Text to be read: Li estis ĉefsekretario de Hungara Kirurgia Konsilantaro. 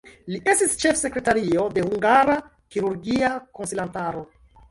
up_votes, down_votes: 2, 1